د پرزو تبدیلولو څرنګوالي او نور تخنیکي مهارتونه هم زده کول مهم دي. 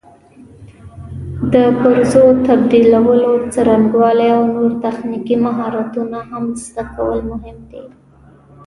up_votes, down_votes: 1, 2